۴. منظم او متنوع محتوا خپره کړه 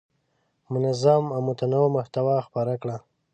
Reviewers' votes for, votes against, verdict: 0, 2, rejected